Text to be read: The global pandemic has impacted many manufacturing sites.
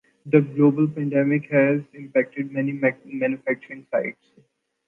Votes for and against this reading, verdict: 1, 2, rejected